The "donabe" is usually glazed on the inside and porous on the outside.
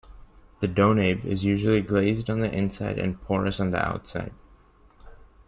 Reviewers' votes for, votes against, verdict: 2, 0, accepted